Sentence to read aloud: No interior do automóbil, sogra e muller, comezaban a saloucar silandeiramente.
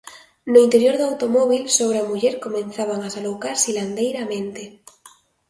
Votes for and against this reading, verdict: 2, 0, accepted